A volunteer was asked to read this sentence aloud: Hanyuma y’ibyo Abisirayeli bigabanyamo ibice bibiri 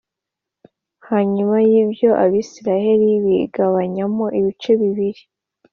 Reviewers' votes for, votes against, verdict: 2, 0, accepted